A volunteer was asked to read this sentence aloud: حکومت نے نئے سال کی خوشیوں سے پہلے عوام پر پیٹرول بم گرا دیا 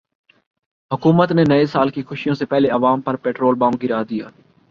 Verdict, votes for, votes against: accepted, 4, 0